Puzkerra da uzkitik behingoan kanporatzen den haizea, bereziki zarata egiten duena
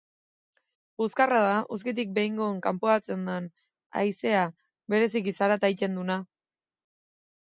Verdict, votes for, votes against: rejected, 0, 2